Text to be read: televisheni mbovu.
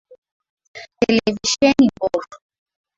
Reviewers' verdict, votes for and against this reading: rejected, 1, 2